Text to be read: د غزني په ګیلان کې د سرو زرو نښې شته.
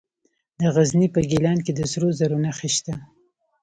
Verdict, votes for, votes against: accepted, 2, 0